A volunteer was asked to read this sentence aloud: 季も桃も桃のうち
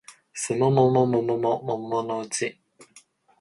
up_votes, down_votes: 2, 0